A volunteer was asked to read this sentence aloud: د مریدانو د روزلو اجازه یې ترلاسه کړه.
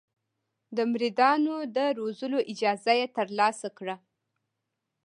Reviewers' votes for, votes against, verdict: 1, 2, rejected